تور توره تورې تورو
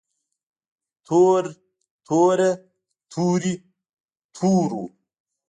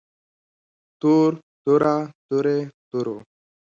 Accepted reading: second